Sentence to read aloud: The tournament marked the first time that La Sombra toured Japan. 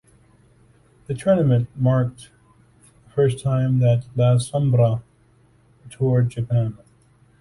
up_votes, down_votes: 1, 2